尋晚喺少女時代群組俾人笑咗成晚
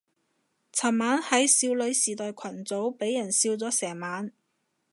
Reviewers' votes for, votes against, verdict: 2, 0, accepted